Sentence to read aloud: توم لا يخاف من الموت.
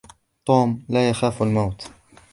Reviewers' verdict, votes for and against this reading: rejected, 0, 2